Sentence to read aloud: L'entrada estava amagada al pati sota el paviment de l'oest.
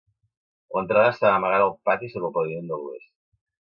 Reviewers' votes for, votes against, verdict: 1, 2, rejected